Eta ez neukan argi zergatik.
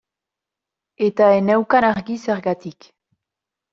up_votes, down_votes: 0, 2